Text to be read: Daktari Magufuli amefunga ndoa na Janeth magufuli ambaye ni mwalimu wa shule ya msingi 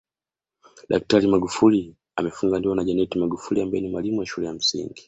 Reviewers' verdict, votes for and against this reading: accepted, 2, 0